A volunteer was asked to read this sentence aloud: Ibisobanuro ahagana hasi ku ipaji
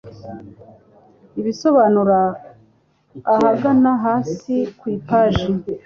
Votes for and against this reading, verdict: 2, 0, accepted